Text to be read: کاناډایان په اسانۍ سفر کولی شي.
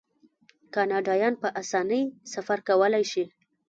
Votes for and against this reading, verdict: 3, 2, accepted